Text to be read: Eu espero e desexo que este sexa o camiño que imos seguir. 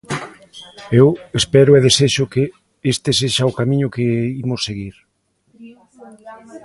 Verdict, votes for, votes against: rejected, 1, 2